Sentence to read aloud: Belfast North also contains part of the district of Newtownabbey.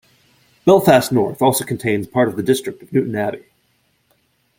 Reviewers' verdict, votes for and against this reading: rejected, 0, 2